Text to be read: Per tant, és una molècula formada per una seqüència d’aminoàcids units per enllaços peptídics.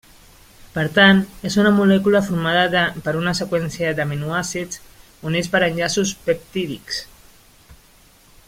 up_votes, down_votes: 0, 2